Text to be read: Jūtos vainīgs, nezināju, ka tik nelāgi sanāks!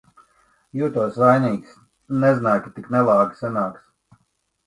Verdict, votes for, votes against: rejected, 1, 2